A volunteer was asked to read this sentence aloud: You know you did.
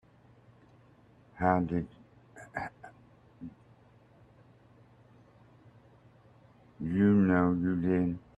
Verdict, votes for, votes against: rejected, 0, 2